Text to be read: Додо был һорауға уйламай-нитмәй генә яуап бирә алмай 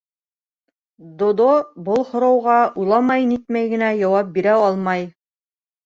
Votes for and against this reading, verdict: 2, 0, accepted